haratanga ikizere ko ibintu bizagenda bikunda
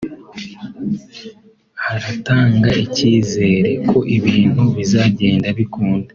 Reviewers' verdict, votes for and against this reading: accepted, 2, 1